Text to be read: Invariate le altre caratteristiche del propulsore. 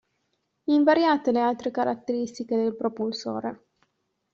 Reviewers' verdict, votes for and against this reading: accepted, 2, 0